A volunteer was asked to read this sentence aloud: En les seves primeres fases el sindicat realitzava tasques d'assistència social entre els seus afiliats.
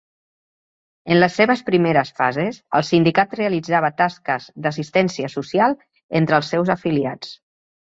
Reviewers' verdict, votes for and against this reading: accepted, 2, 0